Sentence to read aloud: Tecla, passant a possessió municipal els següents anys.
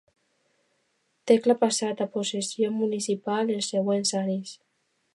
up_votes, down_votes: 2, 0